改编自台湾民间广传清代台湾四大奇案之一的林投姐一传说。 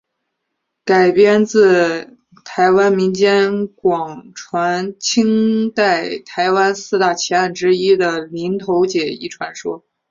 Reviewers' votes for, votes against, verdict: 2, 0, accepted